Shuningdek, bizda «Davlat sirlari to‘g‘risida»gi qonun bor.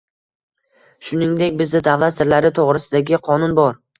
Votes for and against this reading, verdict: 2, 0, accepted